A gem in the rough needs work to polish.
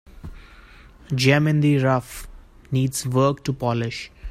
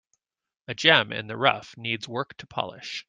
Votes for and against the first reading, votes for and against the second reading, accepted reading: 0, 2, 2, 0, second